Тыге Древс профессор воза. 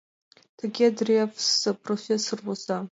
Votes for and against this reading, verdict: 2, 1, accepted